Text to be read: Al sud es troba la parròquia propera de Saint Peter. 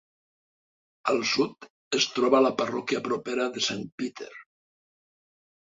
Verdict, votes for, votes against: accepted, 3, 0